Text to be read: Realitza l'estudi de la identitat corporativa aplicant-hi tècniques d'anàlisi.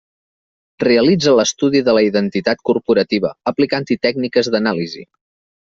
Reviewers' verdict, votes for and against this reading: accepted, 4, 0